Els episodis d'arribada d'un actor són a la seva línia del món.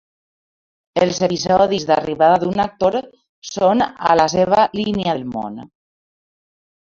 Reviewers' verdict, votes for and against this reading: rejected, 0, 2